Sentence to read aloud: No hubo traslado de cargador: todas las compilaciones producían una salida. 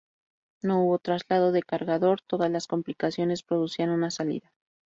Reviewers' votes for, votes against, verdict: 0, 2, rejected